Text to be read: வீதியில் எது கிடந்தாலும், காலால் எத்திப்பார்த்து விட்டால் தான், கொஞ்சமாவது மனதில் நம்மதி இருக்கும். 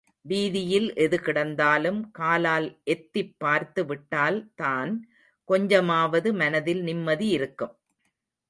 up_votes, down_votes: 1, 2